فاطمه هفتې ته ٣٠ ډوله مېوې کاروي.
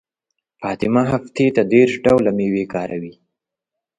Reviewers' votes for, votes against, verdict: 0, 2, rejected